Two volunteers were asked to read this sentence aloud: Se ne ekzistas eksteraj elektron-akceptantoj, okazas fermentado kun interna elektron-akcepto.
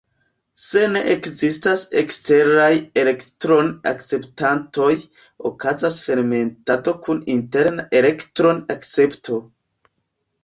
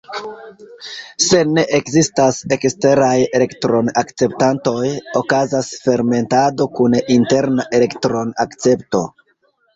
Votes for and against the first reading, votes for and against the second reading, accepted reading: 1, 2, 2, 1, second